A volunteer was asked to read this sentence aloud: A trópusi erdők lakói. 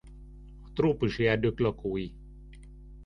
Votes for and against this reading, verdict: 0, 2, rejected